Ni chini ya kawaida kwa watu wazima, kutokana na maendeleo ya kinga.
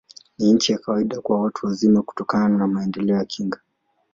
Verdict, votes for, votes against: accepted, 2, 0